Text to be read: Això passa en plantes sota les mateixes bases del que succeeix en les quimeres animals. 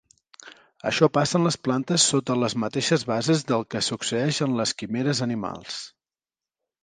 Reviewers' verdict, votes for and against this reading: rejected, 1, 2